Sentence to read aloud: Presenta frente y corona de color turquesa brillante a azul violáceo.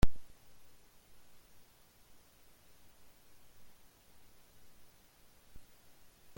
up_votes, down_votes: 0, 2